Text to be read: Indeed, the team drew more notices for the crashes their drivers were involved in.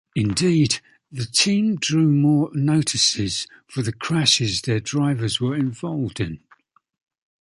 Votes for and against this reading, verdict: 3, 0, accepted